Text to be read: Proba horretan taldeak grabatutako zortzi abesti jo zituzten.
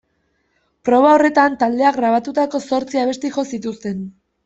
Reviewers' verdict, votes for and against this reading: accepted, 2, 0